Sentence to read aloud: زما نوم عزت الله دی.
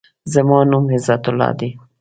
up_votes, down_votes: 2, 0